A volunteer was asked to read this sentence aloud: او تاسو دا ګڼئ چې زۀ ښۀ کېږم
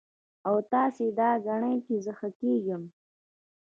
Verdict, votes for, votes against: accepted, 2, 1